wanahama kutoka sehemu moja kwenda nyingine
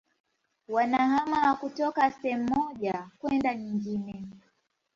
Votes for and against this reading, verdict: 2, 3, rejected